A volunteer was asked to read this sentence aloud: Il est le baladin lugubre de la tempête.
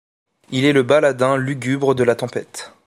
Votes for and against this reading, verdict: 2, 0, accepted